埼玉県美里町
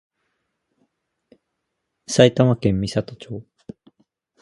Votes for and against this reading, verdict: 2, 0, accepted